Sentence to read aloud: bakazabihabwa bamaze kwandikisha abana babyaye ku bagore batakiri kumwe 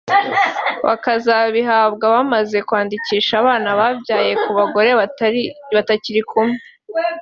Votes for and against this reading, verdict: 0, 2, rejected